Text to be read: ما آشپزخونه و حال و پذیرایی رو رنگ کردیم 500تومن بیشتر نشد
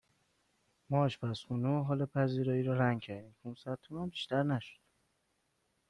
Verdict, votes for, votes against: rejected, 0, 2